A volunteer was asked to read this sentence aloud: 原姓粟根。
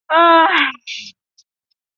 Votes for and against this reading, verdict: 0, 4, rejected